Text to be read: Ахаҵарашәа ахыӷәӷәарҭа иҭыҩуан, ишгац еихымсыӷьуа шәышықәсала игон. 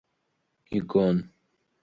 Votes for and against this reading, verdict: 0, 2, rejected